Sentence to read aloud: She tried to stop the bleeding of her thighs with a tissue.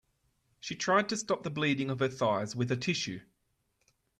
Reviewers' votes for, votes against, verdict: 2, 0, accepted